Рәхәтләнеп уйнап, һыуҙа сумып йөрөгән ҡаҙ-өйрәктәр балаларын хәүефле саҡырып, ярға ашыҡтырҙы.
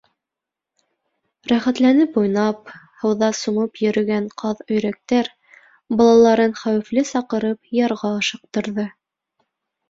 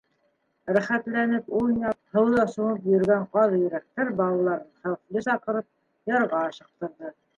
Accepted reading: first